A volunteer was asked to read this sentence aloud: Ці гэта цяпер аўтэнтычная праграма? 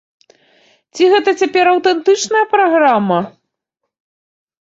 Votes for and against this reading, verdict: 3, 0, accepted